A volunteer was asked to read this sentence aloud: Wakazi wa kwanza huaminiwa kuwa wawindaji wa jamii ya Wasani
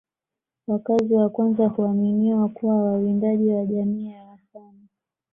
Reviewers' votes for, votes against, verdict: 2, 0, accepted